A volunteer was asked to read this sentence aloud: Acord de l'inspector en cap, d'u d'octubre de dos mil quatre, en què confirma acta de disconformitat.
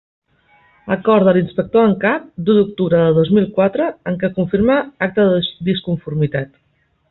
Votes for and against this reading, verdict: 1, 2, rejected